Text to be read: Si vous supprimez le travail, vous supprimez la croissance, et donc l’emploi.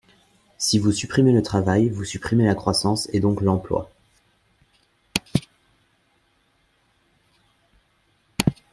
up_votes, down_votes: 1, 2